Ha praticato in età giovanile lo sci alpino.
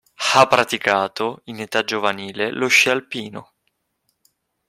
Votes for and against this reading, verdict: 0, 2, rejected